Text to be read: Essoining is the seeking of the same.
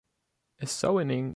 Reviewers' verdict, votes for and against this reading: rejected, 0, 2